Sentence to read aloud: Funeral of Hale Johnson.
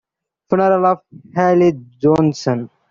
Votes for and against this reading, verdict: 0, 2, rejected